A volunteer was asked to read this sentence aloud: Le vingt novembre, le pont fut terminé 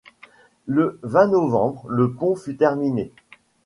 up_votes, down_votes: 2, 0